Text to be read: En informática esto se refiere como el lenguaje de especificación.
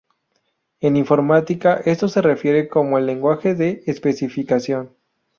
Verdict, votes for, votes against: rejected, 0, 2